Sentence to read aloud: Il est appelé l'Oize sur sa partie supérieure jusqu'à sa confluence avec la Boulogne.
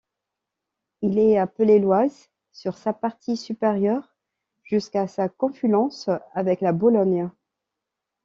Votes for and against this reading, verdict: 0, 2, rejected